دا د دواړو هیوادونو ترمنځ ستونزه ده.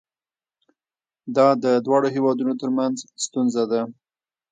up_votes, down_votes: 1, 2